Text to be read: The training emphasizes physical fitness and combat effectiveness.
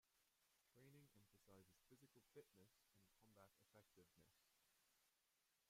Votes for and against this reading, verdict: 0, 2, rejected